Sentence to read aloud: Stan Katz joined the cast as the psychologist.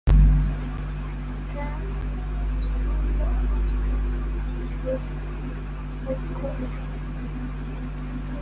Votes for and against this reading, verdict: 0, 2, rejected